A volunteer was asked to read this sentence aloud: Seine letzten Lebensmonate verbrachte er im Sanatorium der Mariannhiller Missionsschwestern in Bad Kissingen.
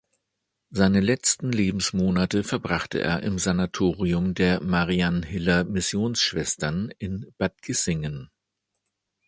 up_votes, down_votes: 2, 0